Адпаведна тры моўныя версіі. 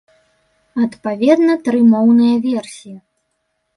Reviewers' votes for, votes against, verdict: 2, 0, accepted